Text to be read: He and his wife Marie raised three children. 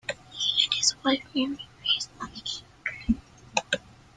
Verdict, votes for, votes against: rejected, 0, 2